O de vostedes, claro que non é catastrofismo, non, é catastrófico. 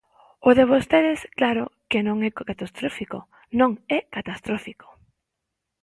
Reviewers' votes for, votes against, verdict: 0, 3, rejected